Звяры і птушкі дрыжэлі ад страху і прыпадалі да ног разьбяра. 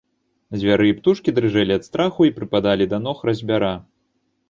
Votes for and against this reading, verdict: 2, 0, accepted